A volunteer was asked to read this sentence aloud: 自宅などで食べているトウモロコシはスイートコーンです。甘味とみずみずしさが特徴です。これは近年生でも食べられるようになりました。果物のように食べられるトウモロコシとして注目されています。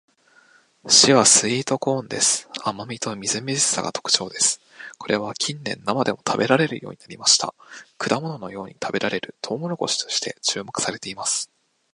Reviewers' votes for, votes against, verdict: 2, 0, accepted